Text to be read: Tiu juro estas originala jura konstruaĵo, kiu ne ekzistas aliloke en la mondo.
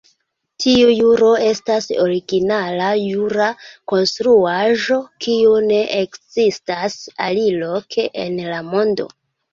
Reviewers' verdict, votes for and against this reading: accepted, 3, 0